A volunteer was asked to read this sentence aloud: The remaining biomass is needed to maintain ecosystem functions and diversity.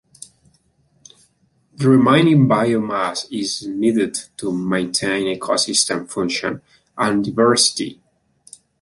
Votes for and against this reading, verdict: 0, 2, rejected